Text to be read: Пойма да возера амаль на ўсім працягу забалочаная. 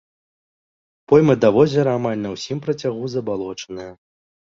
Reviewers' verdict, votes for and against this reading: rejected, 1, 2